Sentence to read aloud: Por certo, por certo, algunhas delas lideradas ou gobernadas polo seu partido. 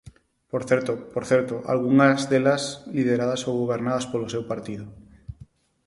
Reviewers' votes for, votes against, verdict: 4, 0, accepted